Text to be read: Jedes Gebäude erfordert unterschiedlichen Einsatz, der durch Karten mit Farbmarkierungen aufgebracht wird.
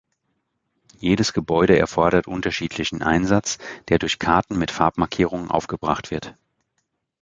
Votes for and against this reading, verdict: 2, 0, accepted